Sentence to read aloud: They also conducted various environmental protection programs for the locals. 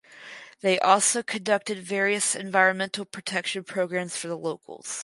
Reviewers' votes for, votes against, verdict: 4, 0, accepted